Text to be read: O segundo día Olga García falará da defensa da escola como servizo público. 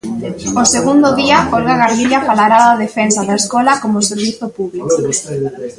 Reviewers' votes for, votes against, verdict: 1, 2, rejected